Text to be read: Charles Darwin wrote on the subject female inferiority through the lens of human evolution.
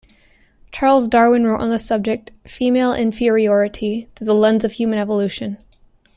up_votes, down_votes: 0, 2